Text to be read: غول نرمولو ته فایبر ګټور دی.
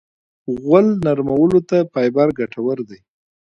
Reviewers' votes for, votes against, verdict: 2, 1, accepted